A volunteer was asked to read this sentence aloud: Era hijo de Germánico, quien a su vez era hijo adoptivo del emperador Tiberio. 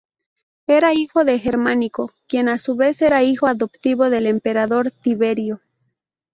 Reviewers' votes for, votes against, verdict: 2, 0, accepted